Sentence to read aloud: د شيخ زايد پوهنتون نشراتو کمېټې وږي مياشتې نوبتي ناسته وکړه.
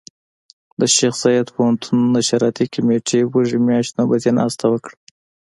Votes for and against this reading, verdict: 2, 0, accepted